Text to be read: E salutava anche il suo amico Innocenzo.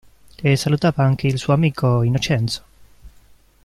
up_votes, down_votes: 2, 0